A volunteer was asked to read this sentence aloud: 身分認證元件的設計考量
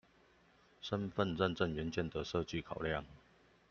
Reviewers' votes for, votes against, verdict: 2, 0, accepted